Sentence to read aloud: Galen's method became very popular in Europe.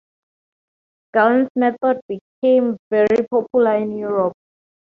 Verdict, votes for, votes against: rejected, 2, 2